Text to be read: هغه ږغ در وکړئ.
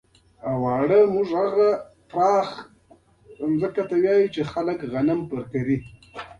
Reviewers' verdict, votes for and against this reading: rejected, 0, 2